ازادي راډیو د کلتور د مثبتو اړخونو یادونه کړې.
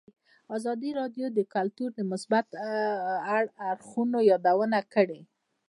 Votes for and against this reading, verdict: 2, 1, accepted